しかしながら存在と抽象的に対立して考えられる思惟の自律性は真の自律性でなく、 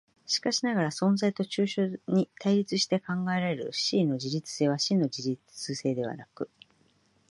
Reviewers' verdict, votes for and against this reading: rejected, 0, 2